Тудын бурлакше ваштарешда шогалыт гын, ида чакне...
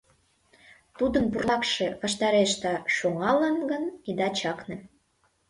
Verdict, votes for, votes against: rejected, 1, 2